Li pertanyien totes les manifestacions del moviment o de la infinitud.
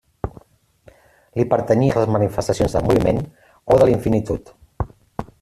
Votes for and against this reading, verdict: 0, 2, rejected